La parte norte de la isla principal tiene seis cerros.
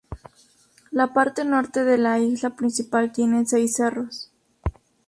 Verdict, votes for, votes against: rejected, 0, 2